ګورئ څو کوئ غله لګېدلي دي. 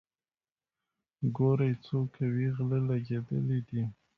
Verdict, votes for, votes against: accepted, 2, 1